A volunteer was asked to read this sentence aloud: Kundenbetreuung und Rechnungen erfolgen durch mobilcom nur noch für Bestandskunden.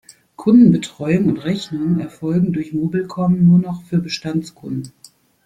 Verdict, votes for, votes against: accepted, 2, 0